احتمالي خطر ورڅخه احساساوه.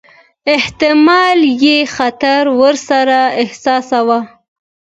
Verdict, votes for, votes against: accepted, 3, 0